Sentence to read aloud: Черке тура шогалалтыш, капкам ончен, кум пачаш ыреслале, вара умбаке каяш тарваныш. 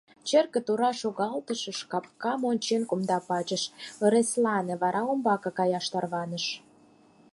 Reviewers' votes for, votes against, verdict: 2, 4, rejected